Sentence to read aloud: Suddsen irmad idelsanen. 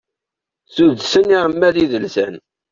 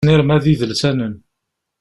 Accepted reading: first